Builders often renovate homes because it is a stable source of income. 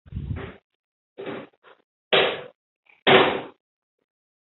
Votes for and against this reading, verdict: 0, 2, rejected